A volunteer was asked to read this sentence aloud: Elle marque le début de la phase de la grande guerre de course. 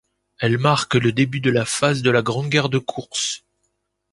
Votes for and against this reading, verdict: 2, 0, accepted